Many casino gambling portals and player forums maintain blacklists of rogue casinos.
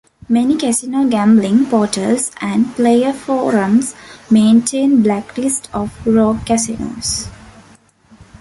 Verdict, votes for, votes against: rejected, 1, 2